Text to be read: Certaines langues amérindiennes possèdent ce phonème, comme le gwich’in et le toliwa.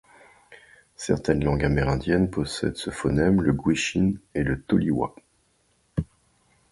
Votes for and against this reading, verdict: 2, 1, accepted